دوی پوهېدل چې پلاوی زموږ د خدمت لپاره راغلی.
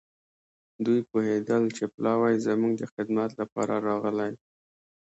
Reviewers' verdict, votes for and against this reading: accepted, 2, 0